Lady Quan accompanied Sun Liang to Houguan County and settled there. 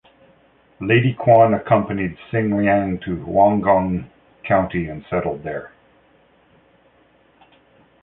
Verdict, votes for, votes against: rejected, 1, 2